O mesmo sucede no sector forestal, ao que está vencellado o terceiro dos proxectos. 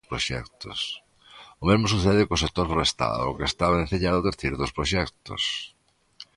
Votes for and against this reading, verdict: 0, 2, rejected